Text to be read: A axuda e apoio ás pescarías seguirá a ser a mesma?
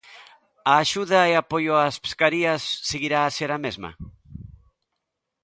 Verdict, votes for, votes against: accepted, 2, 0